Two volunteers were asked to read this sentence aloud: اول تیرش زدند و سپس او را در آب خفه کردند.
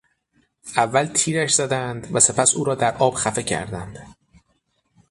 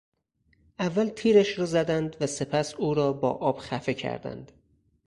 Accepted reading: first